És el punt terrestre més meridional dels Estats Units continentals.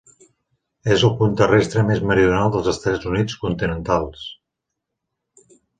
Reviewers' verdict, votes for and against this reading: accepted, 2, 1